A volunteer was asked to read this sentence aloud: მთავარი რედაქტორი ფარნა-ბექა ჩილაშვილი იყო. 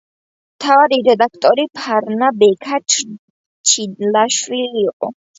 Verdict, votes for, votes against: rejected, 1, 2